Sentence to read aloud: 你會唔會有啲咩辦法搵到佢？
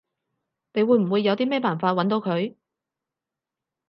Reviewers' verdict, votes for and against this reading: accepted, 6, 0